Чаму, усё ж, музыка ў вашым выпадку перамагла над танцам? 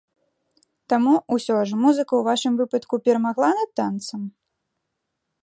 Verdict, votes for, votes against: rejected, 1, 2